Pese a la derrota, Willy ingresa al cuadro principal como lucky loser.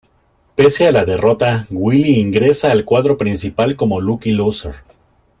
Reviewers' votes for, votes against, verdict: 2, 0, accepted